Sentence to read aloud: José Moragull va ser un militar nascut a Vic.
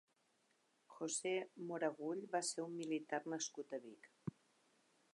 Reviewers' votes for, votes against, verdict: 2, 0, accepted